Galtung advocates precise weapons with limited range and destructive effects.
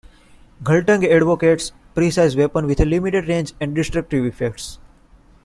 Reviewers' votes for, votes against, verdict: 0, 2, rejected